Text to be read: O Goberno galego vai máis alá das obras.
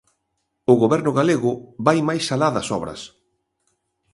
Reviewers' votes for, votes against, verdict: 3, 0, accepted